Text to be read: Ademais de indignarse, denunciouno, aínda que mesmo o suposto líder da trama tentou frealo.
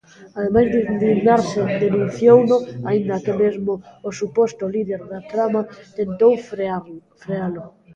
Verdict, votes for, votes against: rejected, 0, 2